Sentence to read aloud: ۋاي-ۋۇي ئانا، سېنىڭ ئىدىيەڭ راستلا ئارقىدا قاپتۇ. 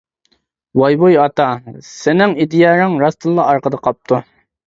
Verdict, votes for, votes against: rejected, 0, 2